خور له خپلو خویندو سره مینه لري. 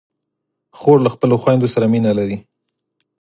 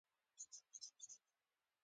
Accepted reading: first